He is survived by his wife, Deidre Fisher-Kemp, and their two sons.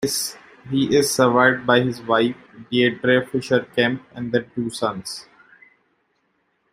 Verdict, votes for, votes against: rejected, 0, 2